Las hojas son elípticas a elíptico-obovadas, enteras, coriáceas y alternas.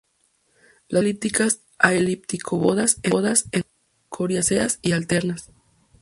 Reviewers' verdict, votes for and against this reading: rejected, 2, 2